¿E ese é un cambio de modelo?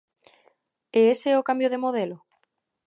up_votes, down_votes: 0, 2